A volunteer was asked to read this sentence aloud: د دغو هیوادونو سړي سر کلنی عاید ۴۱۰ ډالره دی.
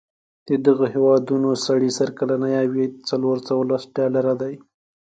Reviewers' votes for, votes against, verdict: 0, 2, rejected